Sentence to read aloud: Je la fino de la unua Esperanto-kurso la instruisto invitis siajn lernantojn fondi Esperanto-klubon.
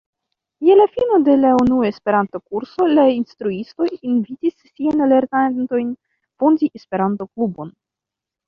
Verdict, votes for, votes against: accepted, 2, 1